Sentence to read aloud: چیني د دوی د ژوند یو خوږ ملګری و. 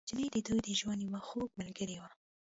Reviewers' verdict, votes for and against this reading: accepted, 2, 0